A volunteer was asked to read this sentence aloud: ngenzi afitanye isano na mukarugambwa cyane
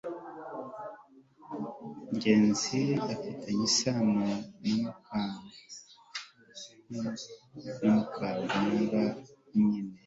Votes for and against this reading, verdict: 1, 2, rejected